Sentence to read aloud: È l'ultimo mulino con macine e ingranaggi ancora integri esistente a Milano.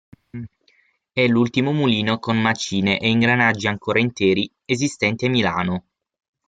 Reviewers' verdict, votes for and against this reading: rejected, 3, 6